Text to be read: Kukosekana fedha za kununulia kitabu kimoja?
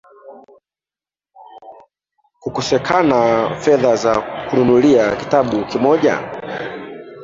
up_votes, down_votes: 1, 2